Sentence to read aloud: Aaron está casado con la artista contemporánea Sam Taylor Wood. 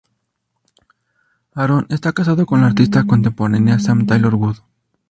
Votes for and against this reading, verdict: 2, 0, accepted